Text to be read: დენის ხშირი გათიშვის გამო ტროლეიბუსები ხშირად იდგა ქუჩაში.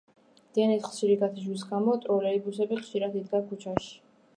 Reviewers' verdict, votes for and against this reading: accepted, 2, 1